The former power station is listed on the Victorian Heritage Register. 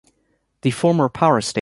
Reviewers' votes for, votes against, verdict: 1, 2, rejected